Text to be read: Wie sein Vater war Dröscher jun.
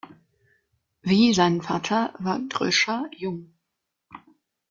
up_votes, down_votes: 1, 2